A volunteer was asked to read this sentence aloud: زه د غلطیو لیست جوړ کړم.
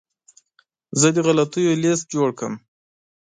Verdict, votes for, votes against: accepted, 2, 0